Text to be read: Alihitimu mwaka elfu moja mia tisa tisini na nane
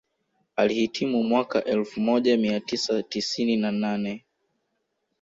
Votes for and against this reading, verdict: 2, 0, accepted